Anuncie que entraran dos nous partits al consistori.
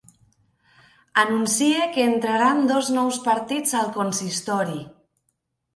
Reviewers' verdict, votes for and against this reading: accepted, 2, 0